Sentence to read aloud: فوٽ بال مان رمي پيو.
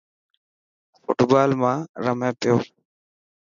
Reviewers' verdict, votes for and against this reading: accepted, 4, 0